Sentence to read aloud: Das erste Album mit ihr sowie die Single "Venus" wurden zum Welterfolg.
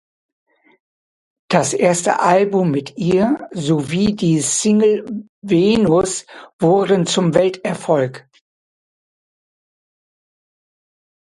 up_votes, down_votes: 1, 2